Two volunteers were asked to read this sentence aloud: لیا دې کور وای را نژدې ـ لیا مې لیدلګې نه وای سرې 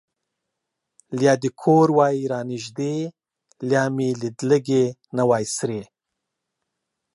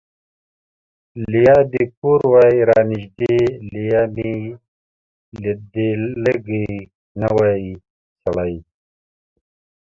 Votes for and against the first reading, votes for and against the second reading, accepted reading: 2, 0, 0, 2, first